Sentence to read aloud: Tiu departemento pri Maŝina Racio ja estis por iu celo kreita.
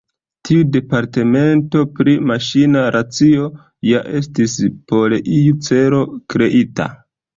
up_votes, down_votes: 2, 1